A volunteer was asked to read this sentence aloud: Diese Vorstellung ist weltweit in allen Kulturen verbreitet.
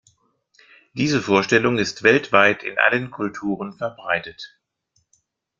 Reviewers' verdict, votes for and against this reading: accepted, 2, 0